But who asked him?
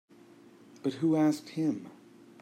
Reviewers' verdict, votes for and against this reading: accepted, 2, 0